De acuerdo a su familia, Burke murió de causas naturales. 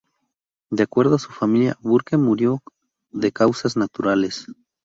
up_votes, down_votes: 2, 0